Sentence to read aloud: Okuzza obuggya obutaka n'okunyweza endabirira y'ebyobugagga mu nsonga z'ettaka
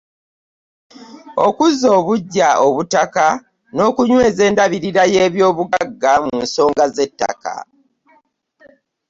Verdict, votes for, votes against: accepted, 2, 0